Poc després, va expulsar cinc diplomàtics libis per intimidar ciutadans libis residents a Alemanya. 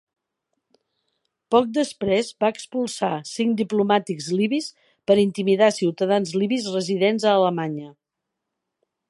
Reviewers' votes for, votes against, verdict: 2, 0, accepted